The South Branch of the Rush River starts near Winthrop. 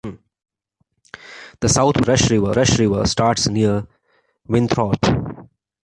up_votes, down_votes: 1, 2